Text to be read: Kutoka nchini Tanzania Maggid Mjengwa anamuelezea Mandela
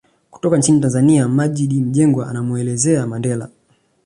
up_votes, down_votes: 2, 0